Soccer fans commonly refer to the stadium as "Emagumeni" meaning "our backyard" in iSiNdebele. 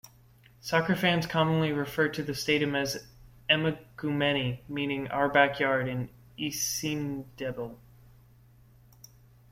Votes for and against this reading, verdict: 0, 2, rejected